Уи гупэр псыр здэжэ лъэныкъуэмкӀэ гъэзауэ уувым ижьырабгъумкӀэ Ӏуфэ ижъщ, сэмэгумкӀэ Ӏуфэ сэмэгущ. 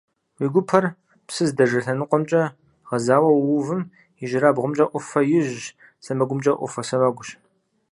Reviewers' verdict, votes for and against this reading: accepted, 4, 0